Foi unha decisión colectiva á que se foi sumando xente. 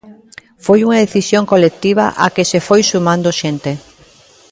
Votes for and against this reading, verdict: 0, 2, rejected